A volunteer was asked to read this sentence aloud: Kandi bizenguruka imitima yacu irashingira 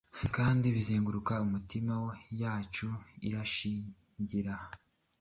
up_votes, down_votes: 2, 0